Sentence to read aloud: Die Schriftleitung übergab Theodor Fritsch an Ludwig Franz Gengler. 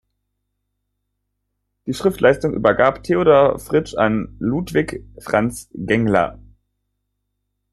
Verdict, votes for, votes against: rejected, 0, 2